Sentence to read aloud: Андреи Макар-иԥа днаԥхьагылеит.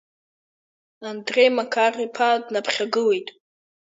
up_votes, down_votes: 2, 1